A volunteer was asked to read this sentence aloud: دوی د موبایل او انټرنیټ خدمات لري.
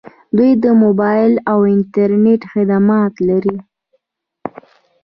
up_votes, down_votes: 2, 0